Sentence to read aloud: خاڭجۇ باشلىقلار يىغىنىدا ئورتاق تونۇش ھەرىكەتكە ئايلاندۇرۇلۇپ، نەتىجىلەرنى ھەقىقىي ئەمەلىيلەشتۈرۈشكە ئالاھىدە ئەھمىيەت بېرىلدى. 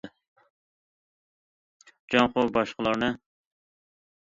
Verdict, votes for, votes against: rejected, 0, 2